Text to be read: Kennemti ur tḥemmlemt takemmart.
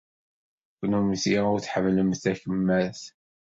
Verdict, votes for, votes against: accepted, 2, 0